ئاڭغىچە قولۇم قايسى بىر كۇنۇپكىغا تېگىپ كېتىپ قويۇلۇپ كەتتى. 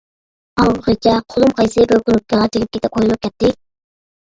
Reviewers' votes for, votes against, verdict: 0, 2, rejected